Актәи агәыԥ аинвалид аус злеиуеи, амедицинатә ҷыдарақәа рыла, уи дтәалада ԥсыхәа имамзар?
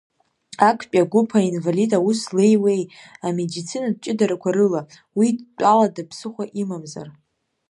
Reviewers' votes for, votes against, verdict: 2, 0, accepted